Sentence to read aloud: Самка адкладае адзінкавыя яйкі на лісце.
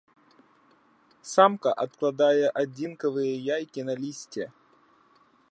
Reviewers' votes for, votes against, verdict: 2, 0, accepted